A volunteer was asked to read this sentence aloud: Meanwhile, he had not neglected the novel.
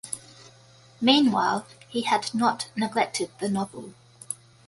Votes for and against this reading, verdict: 2, 0, accepted